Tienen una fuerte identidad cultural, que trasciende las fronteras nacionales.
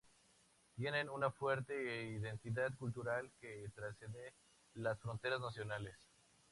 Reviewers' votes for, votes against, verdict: 2, 0, accepted